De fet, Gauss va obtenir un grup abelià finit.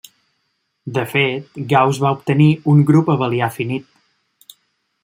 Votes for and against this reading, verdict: 2, 0, accepted